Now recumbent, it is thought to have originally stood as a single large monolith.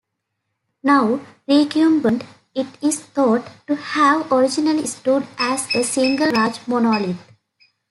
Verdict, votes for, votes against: rejected, 1, 2